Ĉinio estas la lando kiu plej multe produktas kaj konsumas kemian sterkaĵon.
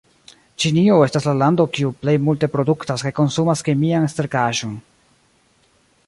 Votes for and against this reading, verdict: 0, 2, rejected